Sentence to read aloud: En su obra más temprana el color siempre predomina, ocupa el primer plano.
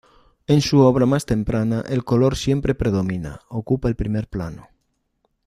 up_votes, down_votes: 1, 2